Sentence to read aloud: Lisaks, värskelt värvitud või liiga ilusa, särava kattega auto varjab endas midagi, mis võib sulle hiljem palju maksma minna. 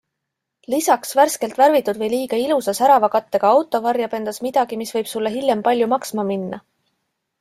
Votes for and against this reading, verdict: 2, 0, accepted